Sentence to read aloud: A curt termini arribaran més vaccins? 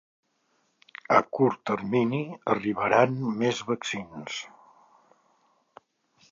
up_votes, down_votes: 1, 2